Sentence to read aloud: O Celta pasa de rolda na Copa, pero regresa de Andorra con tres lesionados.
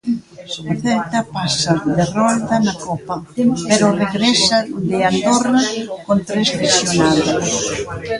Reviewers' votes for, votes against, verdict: 0, 2, rejected